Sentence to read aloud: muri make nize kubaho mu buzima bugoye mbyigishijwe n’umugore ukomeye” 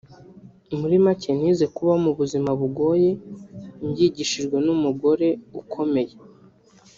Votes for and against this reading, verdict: 0, 2, rejected